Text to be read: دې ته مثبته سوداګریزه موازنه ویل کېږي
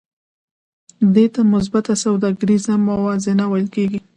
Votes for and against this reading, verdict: 2, 0, accepted